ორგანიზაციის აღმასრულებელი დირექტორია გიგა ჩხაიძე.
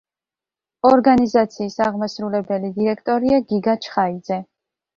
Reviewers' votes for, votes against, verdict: 2, 1, accepted